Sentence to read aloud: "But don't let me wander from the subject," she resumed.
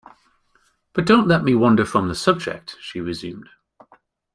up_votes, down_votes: 2, 0